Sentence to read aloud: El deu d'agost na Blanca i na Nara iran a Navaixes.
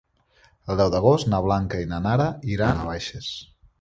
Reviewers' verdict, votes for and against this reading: rejected, 0, 2